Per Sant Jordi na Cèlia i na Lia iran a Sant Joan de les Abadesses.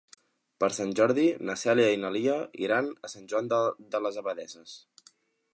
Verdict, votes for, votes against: rejected, 2, 3